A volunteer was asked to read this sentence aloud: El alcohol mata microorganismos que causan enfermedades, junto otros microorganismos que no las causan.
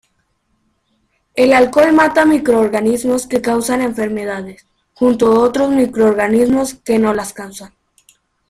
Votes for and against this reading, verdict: 2, 0, accepted